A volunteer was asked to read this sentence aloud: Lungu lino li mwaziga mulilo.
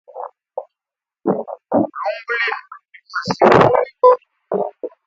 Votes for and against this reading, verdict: 1, 2, rejected